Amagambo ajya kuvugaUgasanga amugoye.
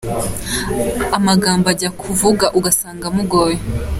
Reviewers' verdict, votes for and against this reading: accepted, 2, 0